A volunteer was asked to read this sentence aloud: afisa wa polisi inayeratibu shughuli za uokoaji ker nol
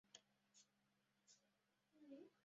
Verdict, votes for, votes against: rejected, 0, 2